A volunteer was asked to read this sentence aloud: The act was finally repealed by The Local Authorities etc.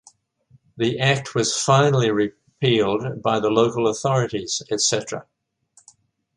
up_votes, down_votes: 3, 0